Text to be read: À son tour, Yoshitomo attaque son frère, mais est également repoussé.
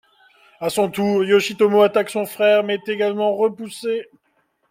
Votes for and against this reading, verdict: 2, 0, accepted